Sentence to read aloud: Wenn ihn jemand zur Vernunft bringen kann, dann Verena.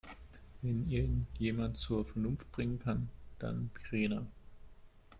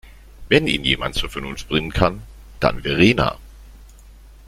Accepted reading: second